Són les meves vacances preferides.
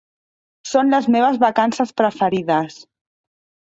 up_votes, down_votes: 2, 0